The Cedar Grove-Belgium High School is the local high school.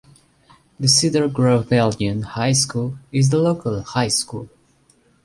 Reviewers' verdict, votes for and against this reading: accepted, 2, 0